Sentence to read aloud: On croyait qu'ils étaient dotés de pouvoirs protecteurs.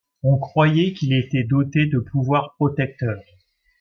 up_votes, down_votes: 1, 2